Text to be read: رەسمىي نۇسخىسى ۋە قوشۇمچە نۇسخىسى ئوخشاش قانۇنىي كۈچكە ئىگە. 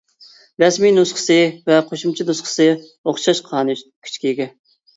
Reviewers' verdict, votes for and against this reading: rejected, 0, 2